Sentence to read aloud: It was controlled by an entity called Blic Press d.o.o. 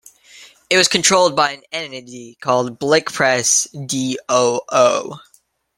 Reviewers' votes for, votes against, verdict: 2, 0, accepted